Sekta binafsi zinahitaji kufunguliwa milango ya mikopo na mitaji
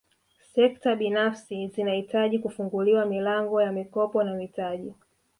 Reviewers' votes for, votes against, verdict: 0, 2, rejected